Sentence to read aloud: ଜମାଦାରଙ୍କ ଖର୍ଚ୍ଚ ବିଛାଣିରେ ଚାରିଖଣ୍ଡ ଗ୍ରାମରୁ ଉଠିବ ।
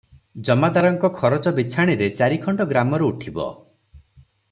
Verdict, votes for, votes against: rejected, 0, 3